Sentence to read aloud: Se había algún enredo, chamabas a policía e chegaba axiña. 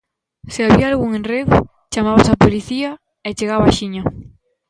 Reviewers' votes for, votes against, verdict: 2, 0, accepted